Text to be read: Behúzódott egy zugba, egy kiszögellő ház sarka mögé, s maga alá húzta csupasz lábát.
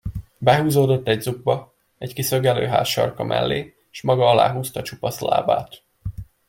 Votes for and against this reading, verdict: 0, 2, rejected